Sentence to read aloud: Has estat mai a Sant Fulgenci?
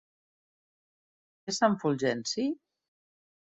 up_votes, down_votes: 1, 2